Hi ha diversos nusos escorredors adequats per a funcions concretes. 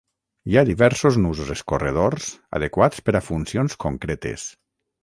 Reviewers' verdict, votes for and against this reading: accepted, 6, 0